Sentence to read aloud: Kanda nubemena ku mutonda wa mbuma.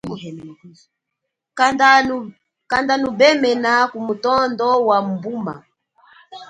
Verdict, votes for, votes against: rejected, 1, 2